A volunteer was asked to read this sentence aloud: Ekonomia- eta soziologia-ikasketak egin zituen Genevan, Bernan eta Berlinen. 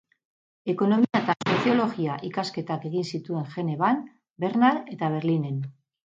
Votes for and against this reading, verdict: 2, 2, rejected